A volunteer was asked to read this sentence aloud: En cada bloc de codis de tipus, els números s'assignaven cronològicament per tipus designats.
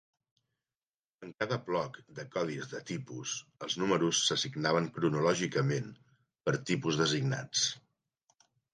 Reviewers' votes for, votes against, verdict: 2, 0, accepted